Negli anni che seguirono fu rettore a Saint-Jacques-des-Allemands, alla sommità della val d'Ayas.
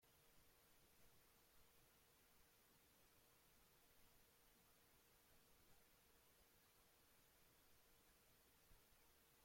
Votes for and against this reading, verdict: 0, 2, rejected